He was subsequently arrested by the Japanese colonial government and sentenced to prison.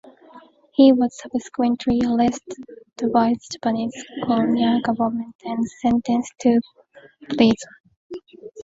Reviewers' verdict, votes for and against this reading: accepted, 2, 1